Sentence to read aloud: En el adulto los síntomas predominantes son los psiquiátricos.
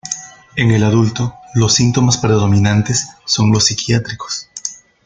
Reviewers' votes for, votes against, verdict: 2, 0, accepted